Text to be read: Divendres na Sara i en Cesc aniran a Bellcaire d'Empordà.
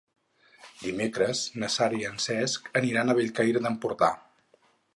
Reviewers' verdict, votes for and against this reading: rejected, 2, 4